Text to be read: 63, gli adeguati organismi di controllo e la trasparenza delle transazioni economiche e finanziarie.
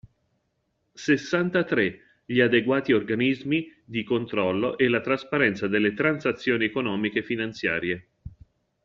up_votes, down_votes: 0, 2